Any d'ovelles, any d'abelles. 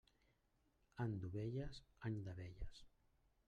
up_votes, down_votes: 0, 2